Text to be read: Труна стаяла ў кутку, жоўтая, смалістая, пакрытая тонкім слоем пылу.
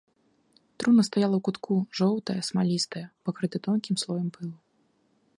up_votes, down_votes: 1, 2